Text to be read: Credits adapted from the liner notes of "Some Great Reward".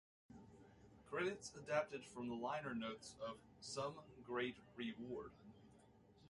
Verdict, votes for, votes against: rejected, 1, 2